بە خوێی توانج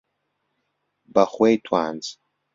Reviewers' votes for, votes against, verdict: 1, 2, rejected